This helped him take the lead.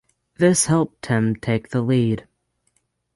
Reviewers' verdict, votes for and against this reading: accepted, 6, 0